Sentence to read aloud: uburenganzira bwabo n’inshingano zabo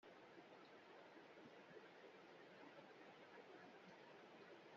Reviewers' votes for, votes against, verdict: 1, 2, rejected